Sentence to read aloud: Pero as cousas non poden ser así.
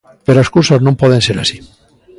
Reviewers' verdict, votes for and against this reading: accepted, 2, 1